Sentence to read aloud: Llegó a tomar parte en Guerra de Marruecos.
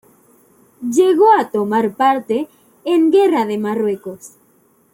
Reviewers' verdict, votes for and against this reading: rejected, 1, 2